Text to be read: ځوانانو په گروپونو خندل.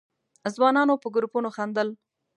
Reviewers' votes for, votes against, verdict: 2, 0, accepted